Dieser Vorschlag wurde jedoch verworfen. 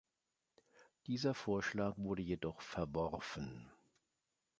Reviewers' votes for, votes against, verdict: 2, 0, accepted